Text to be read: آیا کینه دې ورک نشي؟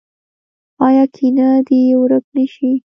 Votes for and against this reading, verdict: 0, 2, rejected